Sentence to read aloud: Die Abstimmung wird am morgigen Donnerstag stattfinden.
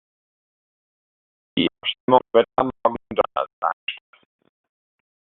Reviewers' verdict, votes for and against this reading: rejected, 0, 2